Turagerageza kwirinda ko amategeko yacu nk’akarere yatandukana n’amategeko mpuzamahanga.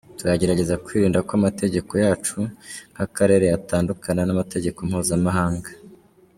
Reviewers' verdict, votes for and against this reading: accepted, 2, 0